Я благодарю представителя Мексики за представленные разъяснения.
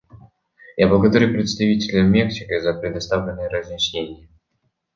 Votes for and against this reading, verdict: 1, 2, rejected